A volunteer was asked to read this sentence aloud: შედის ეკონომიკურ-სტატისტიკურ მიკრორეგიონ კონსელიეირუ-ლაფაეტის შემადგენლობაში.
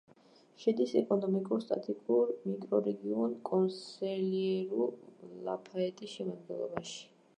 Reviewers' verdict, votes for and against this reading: rejected, 0, 2